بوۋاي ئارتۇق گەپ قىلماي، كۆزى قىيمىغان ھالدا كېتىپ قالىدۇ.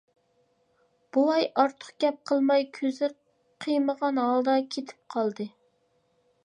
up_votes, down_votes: 1, 2